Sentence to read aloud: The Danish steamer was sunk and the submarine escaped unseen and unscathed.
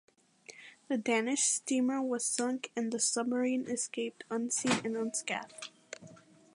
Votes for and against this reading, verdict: 2, 1, accepted